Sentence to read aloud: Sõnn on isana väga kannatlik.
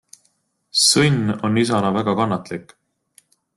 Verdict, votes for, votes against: accepted, 2, 0